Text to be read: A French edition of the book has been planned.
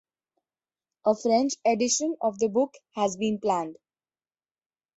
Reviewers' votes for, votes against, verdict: 3, 0, accepted